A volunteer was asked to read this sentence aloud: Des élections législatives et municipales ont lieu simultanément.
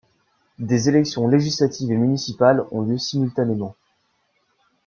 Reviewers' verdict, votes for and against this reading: accepted, 2, 1